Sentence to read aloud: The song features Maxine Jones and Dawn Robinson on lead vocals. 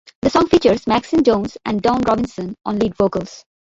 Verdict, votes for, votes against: accepted, 2, 1